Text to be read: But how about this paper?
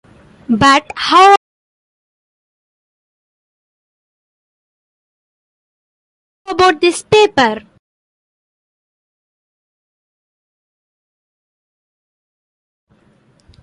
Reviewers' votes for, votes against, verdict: 2, 1, accepted